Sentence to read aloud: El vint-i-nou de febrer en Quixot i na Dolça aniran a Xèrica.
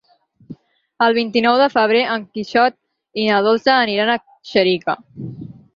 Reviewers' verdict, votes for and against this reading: accepted, 6, 2